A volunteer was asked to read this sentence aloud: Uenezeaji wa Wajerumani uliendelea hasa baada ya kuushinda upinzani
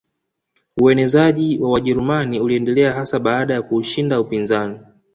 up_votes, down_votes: 1, 2